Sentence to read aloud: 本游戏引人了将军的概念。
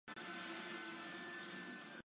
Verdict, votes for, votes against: rejected, 0, 2